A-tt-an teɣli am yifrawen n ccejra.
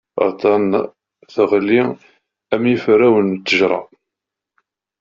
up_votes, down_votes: 0, 2